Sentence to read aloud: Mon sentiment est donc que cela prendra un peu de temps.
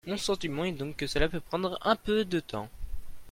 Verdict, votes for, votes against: rejected, 1, 2